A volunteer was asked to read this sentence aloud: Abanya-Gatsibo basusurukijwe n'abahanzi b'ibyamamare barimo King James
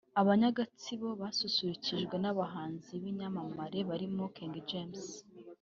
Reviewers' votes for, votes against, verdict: 2, 1, accepted